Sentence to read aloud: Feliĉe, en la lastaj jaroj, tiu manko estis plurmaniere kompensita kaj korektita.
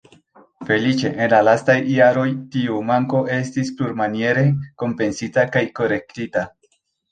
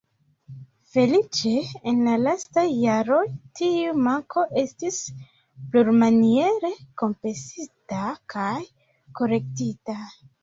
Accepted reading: first